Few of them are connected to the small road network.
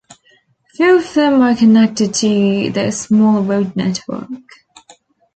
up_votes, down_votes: 2, 0